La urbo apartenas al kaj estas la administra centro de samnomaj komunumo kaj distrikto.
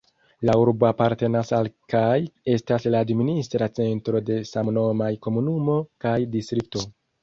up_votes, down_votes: 2, 0